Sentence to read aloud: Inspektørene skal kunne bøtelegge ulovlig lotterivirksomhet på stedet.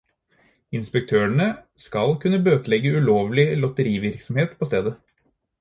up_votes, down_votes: 4, 0